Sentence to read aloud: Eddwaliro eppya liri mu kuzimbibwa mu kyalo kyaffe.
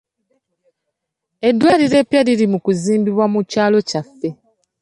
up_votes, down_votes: 2, 0